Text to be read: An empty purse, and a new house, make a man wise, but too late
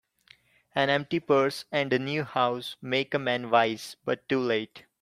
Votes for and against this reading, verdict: 2, 0, accepted